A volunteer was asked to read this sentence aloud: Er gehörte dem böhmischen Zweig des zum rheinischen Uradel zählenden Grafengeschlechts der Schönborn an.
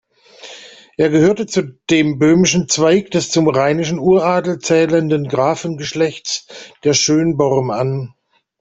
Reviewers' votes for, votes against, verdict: 2, 0, accepted